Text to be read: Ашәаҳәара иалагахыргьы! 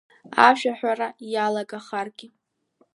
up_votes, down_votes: 1, 2